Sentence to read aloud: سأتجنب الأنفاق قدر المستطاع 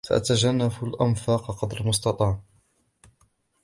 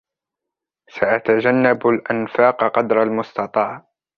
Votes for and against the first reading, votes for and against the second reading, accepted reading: 1, 2, 3, 1, second